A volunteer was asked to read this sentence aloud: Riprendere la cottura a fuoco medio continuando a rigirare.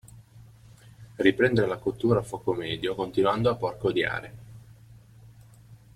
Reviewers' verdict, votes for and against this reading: rejected, 0, 2